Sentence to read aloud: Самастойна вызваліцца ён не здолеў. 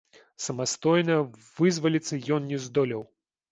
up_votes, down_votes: 0, 2